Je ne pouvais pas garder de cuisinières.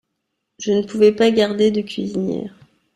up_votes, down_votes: 2, 0